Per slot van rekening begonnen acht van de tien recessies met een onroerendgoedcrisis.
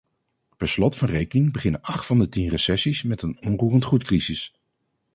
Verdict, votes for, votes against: rejected, 0, 4